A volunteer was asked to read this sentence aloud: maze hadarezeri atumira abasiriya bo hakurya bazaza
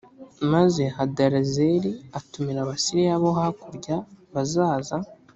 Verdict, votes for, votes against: accepted, 5, 0